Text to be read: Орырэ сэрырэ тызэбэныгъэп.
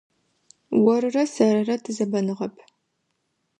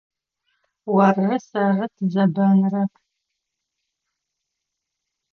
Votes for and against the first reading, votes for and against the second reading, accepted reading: 2, 0, 1, 2, first